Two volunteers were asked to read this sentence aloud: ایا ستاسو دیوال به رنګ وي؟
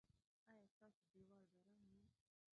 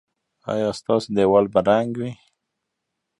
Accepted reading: second